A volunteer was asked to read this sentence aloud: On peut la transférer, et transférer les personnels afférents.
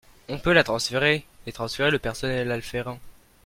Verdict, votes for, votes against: rejected, 0, 2